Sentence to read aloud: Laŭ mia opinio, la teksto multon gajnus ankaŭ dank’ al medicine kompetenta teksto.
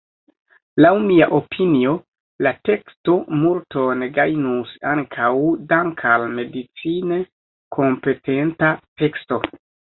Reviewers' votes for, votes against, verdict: 1, 2, rejected